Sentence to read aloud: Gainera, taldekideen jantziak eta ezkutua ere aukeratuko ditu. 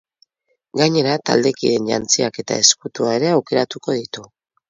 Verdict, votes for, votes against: accepted, 4, 0